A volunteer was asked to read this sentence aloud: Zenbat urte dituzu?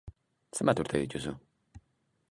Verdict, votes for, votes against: accepted, 2, 0